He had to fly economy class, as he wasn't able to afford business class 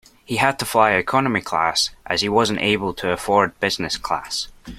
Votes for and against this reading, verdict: 2, 0, accepted